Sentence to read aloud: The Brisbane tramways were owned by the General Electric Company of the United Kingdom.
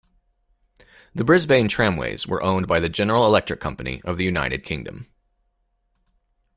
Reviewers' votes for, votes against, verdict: 2, 0, accepted